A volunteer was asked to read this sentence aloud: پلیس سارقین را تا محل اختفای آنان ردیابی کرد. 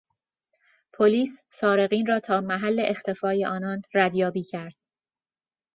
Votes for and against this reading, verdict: 2, 0, accepted